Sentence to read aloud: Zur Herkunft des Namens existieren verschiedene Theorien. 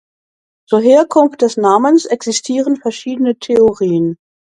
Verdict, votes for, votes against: accepted, 2, 0